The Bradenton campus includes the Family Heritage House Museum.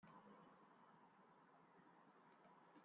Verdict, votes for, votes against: rejected, 0, 2